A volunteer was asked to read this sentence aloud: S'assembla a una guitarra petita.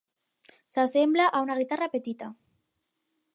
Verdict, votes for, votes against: accepted, 4, 0